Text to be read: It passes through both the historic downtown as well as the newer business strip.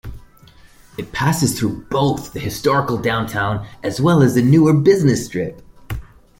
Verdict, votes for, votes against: rejected, 0, 2